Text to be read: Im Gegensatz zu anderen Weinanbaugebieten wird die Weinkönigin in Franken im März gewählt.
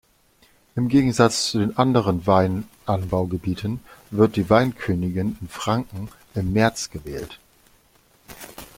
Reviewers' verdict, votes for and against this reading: rejected, 1, 2